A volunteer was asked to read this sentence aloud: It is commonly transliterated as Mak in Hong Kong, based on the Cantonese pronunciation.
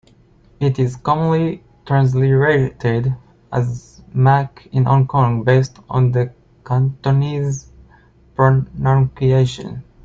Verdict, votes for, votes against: rejected, 1, 2